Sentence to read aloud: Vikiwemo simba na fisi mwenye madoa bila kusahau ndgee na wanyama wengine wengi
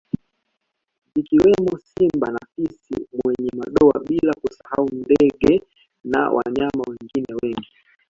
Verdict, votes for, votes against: rejected, 0, 2